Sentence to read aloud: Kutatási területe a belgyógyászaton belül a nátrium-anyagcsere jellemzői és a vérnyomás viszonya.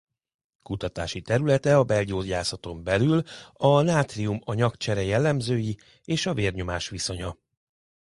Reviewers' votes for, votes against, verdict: 2, 0, accepted